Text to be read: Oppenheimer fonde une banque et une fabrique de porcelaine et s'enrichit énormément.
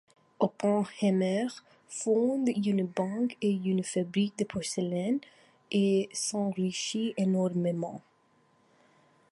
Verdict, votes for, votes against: rejected, 0, 2